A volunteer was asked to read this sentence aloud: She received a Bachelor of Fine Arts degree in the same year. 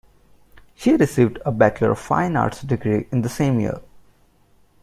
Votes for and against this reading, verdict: 1, 2, rejected